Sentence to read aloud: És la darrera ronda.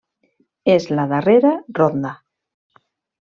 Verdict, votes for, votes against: accepted, 2, 0